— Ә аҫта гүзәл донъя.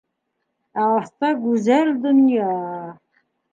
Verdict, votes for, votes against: accepted, 2, 0